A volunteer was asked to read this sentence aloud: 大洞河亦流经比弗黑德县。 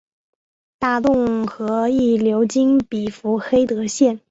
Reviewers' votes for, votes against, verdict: 2, 0, accepted